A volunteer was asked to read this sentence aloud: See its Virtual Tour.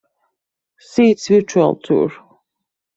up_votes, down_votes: 2, 1